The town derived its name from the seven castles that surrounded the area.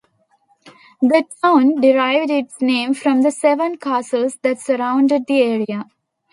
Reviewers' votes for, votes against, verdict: 2, 0, accepted